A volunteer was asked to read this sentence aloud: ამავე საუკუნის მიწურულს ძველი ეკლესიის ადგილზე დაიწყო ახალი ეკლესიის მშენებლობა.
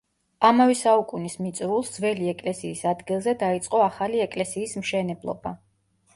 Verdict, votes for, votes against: accepted, 2, 0